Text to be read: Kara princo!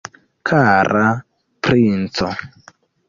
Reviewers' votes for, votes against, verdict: 2, 1, accepted